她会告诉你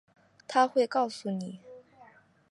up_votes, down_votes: 4, 3